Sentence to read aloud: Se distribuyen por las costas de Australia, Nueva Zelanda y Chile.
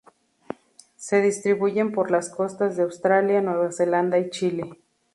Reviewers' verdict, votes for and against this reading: accepted, 2, 0